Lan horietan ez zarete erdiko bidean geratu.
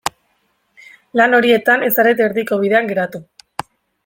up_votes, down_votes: 2, 0